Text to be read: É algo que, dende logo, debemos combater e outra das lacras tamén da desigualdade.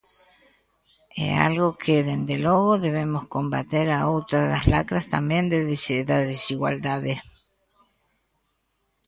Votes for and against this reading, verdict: 0, 2, rejected